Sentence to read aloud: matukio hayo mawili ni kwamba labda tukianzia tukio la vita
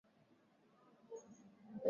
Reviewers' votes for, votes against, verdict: 0, 2, rejected